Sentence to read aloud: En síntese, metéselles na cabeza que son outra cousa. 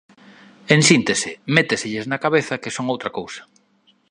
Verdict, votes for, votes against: accepted, 2, 0